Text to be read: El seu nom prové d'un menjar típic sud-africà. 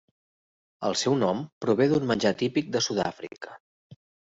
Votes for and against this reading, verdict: 0, 2, rejected